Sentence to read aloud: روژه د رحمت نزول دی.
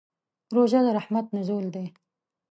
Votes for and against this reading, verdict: 2, 0, accepted